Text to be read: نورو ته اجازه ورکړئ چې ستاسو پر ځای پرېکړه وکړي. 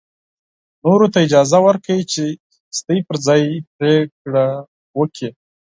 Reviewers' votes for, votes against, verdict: 0, 4, rejected